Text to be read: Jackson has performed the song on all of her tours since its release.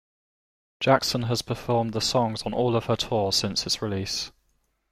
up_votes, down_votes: 0, 2